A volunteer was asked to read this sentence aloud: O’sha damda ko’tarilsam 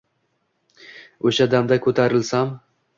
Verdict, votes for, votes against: accepted, 2, 0